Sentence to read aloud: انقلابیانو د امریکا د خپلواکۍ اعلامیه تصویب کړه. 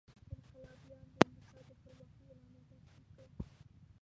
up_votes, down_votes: 1, 2